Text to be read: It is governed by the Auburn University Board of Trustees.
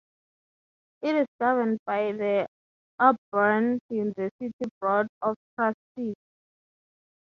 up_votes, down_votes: 3, 3